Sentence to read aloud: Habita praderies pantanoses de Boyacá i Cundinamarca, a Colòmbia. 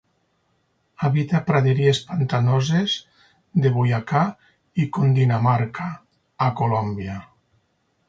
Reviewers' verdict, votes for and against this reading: accepted, 4, 0